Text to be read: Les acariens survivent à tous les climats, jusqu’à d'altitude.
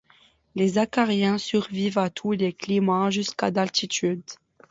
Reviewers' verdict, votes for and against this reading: accepted, 2, 0